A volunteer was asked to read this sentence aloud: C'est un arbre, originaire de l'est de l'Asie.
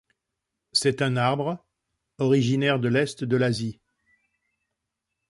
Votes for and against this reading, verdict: 2, 0, accepted